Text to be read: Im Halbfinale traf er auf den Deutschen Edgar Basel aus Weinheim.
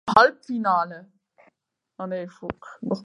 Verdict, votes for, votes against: rejected, 0, 4